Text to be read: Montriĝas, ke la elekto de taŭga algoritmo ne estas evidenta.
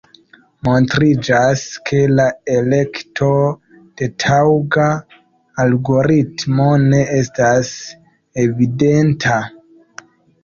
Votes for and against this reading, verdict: 1, 2, rejected